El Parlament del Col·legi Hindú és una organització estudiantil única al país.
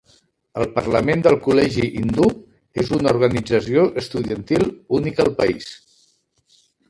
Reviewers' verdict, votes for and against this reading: rejected, 0, 2